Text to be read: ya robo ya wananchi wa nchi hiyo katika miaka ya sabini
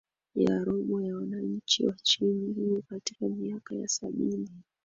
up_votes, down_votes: 2, 0